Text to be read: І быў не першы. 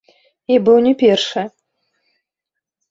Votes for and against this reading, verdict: 1, 2, rejected